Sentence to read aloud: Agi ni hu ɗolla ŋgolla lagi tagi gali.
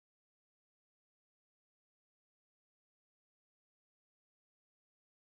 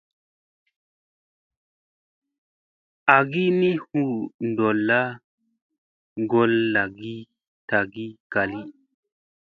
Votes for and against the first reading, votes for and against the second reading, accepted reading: 0, 2, 2, 0, second